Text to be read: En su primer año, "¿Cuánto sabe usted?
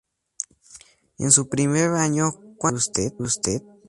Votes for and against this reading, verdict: 0, 2, rejected